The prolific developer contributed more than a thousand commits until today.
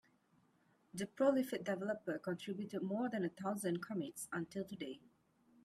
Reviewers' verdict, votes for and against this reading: accepted, 2, 1